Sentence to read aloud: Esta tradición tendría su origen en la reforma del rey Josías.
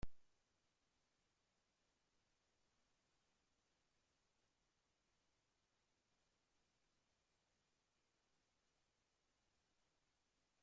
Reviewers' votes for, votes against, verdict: 0, 2, rejected